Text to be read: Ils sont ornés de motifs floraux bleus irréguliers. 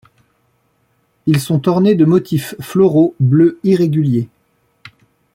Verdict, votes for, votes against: rejected, 1, 2